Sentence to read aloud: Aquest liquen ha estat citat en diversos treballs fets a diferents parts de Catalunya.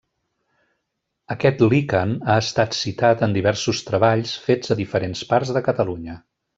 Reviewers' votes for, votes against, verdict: 2, 0, accepted